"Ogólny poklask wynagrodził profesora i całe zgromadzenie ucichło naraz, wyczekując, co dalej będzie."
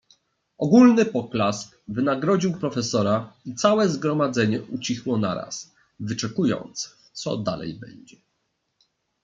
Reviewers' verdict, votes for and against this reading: accepted, 2, 0